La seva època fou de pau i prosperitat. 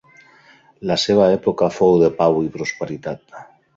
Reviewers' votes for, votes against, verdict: 3, 0, accepted